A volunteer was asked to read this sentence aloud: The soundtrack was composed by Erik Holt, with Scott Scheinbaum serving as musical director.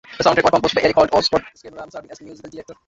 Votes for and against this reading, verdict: 0, 2, rejected